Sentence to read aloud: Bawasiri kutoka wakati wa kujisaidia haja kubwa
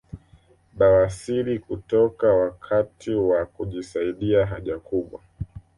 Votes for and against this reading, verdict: 2, 1, accepted